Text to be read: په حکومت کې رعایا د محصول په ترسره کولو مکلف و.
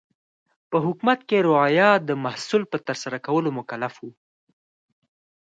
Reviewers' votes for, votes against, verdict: 4, 0, accepted